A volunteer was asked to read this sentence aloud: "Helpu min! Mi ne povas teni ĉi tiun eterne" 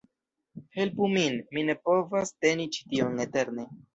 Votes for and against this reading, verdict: 1, 2, rejected